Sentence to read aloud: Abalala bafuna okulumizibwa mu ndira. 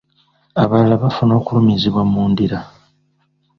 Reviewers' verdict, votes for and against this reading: accepted, 2, 0